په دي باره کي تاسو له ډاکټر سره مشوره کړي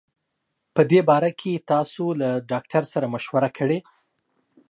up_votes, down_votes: 2, 0